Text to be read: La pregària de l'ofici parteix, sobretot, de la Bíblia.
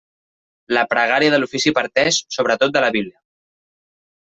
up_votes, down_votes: 1, 2